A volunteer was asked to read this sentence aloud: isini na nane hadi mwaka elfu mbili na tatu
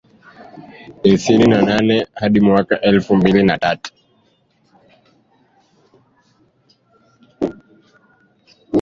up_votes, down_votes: 0, 3